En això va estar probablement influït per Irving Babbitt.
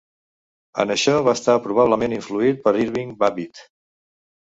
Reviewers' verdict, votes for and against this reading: accepted, 2, 0